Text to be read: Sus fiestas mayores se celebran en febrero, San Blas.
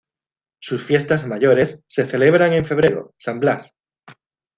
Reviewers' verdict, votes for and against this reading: accepted, 2, 0